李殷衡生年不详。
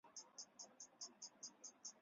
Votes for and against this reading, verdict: 0, 4, rejected